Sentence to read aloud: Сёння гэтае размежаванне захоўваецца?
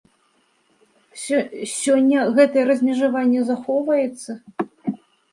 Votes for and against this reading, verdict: 0, 2, rejected